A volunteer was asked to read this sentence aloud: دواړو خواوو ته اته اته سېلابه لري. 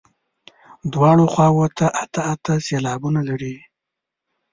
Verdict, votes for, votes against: rejected, 1, 2